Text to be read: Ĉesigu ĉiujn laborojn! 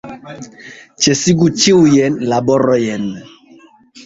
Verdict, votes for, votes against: rejected, 0, 2